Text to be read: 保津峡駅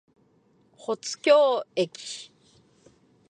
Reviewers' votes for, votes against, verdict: 2, 0, accepted